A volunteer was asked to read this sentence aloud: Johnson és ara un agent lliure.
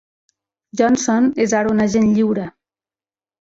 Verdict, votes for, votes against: accepted, 2, 0